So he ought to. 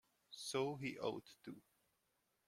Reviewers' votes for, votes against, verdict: 1, 2, rejected